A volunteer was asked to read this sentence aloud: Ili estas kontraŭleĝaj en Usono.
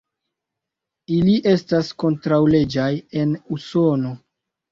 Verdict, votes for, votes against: accepted, 2, 0